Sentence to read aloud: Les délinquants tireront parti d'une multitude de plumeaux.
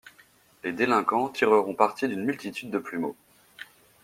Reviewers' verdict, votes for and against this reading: accepted, 2, 0